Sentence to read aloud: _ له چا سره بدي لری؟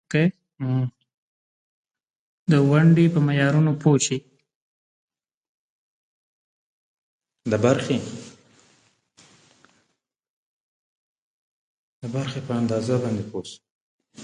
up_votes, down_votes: 0, 2